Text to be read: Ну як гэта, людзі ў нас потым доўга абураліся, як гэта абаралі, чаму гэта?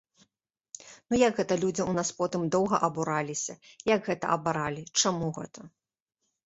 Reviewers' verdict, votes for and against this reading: accepted, 4, 0